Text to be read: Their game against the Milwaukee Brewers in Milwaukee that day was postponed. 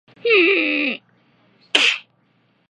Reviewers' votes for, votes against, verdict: 0, 2, rejected